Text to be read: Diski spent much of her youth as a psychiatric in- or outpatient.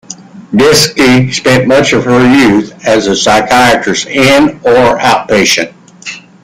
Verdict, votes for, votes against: rejected, 0, 2